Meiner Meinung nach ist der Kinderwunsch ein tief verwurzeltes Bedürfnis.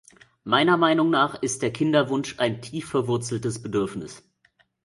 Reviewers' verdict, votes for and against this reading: accepted, 2, 0